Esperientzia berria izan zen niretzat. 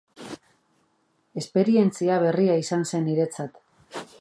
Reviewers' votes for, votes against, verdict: 2, 0, accepted